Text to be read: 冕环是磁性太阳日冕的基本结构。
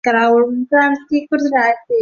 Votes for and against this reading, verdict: 1, 2, rejected